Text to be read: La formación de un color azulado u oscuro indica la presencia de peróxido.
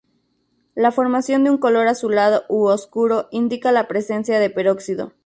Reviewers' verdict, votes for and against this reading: rejected, 0, 2